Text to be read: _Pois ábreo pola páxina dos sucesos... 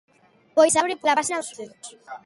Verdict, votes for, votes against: rejected, 0, 2